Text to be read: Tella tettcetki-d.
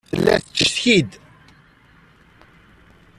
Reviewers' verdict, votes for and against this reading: rejected, 0, 3